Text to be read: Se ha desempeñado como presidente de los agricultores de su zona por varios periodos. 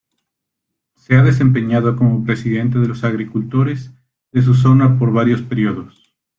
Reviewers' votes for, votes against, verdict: 2, 0, accepted